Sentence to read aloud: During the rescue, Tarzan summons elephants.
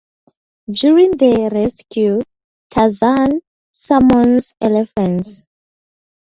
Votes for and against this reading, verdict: 2, 2, rejected